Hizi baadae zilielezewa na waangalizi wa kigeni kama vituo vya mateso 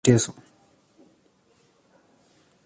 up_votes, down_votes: 0, 2